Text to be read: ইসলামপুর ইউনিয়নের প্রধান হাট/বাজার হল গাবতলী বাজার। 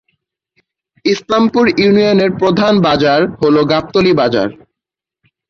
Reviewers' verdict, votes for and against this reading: rejected, 0, 3